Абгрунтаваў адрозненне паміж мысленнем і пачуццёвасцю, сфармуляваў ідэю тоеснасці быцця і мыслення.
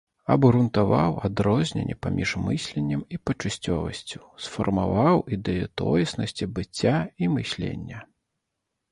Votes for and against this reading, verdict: 0, 2, rejected